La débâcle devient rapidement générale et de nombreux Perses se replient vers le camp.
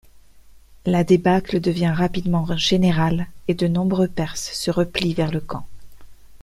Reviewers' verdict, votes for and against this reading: rejected, 0, 2